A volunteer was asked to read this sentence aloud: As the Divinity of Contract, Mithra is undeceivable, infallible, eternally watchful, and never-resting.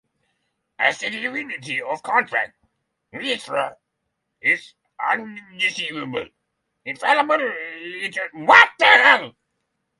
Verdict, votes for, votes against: rejected, 0, 6